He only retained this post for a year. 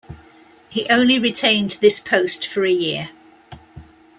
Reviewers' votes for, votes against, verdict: 2, 0, accepted